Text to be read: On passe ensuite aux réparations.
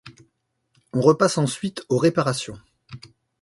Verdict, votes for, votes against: rejected, 0, 2